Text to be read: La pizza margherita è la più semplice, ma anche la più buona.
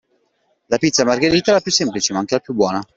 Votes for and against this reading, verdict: 2, 0, accepted